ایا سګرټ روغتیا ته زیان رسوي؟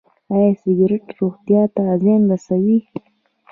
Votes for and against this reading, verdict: 1, 2, rejected